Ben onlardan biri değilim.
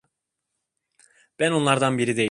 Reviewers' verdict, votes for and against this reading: rejected, 0, 2